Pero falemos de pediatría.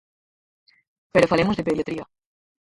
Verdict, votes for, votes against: rejected, 2, 4